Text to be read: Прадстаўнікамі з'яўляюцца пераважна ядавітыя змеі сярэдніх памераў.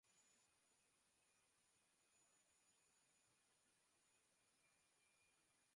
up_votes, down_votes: 0, 2